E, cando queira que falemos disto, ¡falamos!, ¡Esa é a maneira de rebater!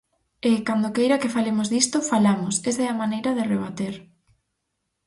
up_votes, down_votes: 4, 0